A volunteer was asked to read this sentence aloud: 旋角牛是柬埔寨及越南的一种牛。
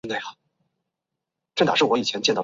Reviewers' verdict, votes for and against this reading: rejected, 1, 2